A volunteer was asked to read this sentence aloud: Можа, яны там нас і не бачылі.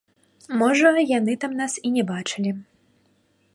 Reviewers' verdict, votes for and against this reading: rejected, 1, 2